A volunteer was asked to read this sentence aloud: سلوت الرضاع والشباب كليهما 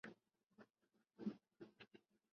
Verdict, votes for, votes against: rejected, 0, 2